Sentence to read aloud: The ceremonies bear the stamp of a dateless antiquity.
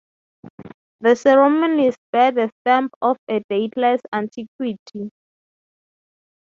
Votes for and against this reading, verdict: 3, 0, accepted